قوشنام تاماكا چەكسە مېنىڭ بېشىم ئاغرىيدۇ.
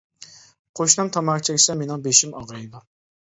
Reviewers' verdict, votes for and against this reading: accepted, 2, 1